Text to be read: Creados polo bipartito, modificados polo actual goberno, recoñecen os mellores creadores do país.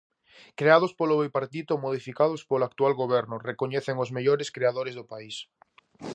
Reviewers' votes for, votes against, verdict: 2, 0, accepted